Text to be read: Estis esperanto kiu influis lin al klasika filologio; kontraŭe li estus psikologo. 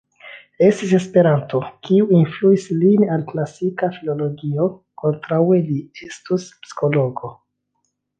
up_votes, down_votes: 2, 0